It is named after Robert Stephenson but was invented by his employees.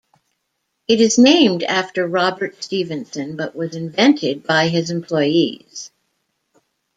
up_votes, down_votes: 2, 0